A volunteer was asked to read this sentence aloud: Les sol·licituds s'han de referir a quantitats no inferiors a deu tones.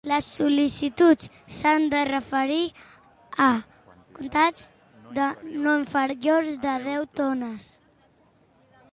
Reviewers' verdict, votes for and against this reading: rejected, 1, 2